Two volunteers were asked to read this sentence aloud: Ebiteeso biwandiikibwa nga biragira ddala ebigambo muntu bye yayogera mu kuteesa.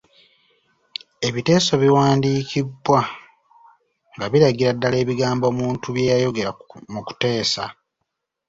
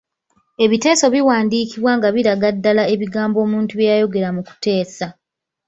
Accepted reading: first